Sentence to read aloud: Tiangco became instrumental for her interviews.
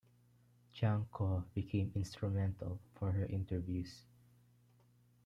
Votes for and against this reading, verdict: 0, 2, rejected